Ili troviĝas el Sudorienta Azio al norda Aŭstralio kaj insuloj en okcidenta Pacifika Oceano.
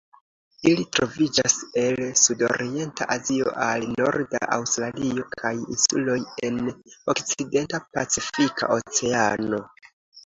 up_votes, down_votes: 1, 2